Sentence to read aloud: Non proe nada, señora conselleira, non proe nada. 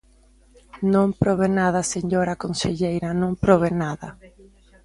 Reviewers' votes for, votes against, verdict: 0, 2, rejected